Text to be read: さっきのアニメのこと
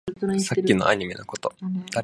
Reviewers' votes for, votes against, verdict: 2, 2, rejected